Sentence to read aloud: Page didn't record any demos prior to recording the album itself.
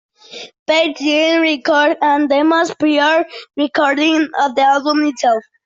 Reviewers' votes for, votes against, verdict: 0, 2, rejected